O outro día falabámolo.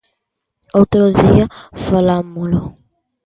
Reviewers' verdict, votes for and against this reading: rejected, 0, 2